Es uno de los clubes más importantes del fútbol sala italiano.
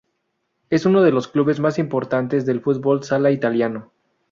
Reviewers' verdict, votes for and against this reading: accepted, 2, 0